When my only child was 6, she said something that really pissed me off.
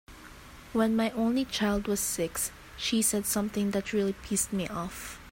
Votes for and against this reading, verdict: 0, 2, rejected